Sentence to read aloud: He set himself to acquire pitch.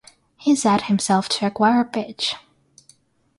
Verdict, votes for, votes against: accepted, 6, 0